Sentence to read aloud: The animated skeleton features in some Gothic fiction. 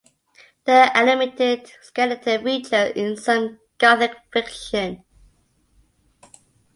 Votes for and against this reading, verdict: 1, 2, rejected